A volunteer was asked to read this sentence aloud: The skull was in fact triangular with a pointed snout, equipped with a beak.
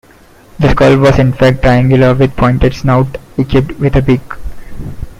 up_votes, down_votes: 1, 2